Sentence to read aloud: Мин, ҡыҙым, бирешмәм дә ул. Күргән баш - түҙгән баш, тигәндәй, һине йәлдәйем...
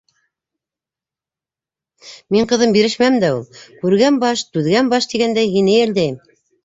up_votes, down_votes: 2, 0